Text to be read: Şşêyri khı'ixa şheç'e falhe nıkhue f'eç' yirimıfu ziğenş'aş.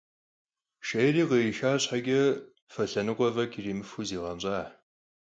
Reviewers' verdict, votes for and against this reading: rejected, 2, 4